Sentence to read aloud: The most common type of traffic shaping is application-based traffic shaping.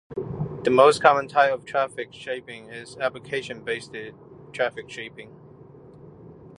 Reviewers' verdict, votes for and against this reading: rejected, 1, 2